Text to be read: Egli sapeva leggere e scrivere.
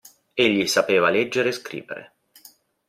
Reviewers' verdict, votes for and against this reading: accepted, 2, 0